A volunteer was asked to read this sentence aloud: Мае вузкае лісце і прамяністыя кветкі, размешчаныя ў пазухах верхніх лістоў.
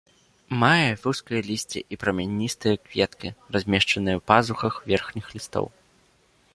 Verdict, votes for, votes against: accepted, 2, 0